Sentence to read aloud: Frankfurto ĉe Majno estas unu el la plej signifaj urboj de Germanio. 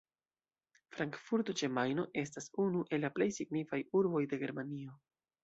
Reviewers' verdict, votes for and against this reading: accepted, 2, 0